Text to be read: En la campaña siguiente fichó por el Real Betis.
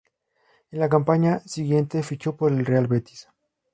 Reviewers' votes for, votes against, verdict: 0, 2, rejected